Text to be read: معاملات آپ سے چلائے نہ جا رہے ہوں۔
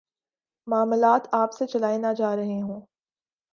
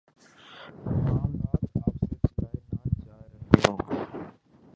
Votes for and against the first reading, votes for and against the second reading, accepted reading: 3, 0, 1, 2, first